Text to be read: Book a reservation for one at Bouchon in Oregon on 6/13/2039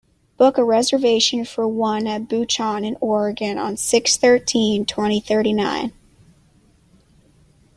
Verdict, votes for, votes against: rejected, 0, 2